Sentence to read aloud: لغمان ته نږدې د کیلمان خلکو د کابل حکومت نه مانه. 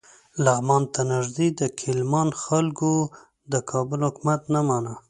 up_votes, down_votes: 2, 0